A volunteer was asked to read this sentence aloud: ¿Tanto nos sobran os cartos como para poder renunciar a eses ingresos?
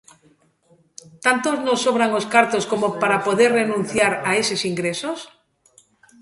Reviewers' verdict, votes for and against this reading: accepted, 2, 0